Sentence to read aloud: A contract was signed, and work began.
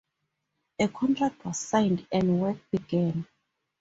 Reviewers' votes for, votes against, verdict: 4, 0, accepted